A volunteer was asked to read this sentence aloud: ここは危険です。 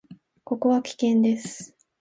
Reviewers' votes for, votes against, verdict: 2, 0, accepted